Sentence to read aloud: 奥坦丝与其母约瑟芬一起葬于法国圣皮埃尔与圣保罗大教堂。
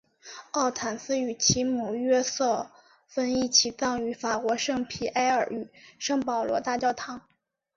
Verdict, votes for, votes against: accepted, 2, 0